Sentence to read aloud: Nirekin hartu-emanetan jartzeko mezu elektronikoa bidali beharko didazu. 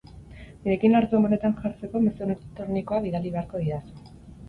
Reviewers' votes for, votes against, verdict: 2, 4, rejected